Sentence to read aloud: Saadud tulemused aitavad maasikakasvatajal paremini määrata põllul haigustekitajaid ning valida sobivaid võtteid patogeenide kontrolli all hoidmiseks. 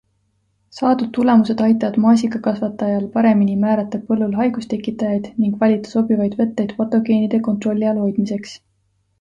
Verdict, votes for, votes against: accepted, 2, 0